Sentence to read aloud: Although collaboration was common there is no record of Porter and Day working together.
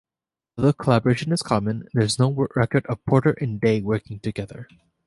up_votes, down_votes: 1, 2